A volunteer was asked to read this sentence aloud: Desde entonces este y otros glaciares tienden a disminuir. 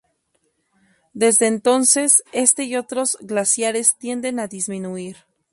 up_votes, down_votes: 2, 0